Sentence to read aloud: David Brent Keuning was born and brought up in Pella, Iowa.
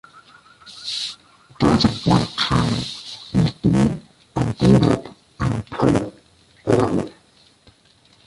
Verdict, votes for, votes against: rejected, 0, 2